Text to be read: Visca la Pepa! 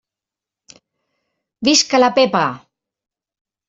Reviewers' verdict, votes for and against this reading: accepted, 3, 0